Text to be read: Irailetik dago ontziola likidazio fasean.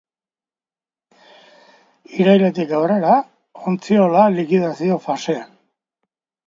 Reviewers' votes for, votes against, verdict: 0, 2, rejected